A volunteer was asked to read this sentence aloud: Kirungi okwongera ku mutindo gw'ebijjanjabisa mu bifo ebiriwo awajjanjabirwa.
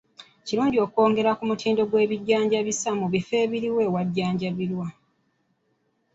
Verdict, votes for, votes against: accepted, 3, 0